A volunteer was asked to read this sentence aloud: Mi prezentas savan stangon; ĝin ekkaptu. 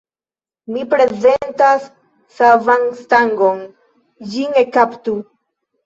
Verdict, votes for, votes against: rejected, 1, 2